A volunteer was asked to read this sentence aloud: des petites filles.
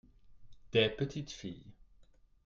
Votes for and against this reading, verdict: 2, 0, accepted